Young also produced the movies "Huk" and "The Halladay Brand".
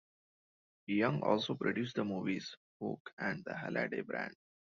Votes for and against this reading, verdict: 2, 0, accepted